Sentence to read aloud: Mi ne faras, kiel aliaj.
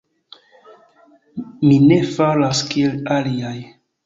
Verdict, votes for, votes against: rejected, 0, 2